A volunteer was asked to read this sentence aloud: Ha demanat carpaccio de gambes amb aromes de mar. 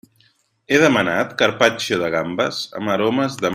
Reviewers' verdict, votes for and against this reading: rejected, 0, 2